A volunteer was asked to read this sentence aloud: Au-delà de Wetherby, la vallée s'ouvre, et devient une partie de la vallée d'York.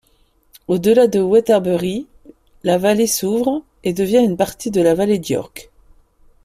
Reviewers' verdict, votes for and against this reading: rejected, 0, 2